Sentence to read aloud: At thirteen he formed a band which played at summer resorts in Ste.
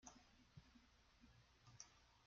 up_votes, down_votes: 0, 2